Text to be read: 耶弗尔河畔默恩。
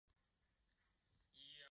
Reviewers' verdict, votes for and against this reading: rejected, 0, 3